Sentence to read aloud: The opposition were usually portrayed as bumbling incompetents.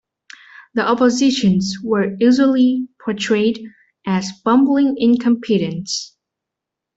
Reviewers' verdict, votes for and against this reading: rejected, 1, 2